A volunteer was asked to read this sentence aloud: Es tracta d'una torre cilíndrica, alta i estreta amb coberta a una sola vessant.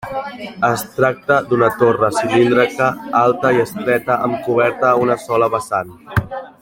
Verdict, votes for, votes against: rejected, 1, 2